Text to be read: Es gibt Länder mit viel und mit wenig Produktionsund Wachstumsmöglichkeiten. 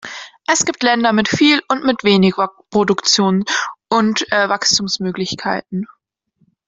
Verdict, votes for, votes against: rejected, 1, 2